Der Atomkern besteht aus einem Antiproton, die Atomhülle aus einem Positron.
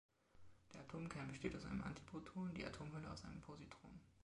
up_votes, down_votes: 2, 1